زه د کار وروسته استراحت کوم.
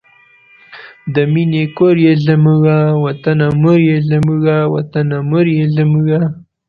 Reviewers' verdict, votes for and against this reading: rejected, 1, 2